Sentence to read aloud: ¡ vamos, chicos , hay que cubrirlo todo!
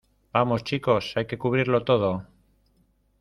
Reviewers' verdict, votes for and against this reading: rejected, 1, 2